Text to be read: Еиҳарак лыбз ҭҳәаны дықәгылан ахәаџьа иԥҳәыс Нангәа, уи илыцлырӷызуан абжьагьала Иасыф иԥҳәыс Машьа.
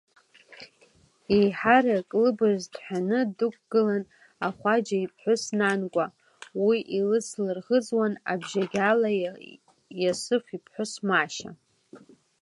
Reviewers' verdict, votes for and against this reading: accepted, 2, 1